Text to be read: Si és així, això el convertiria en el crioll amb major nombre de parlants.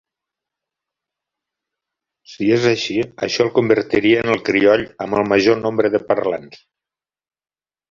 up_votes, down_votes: 0, 2